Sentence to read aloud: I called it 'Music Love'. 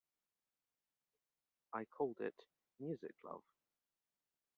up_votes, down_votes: 2, 0